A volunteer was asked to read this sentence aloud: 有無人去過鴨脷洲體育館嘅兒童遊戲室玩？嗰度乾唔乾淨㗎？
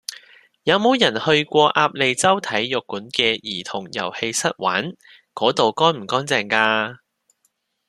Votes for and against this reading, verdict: 2, 0, accepted